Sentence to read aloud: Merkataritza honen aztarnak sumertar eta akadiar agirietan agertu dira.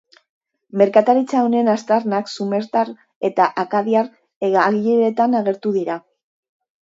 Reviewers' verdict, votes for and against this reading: rejected, 0, 2